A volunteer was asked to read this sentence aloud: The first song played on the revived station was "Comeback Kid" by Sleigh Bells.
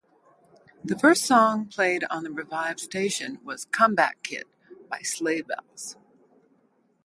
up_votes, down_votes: 2, 2